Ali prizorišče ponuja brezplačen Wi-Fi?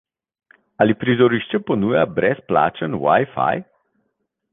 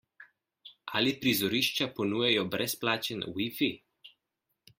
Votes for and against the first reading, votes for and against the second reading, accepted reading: 2, 0, 1, 2, first